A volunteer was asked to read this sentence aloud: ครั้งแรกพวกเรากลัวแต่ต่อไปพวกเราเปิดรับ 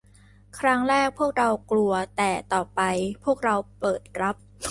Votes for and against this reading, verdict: 2, 0, accepted